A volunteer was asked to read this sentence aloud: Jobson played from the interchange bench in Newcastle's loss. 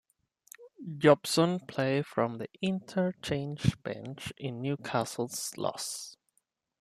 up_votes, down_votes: 2, 0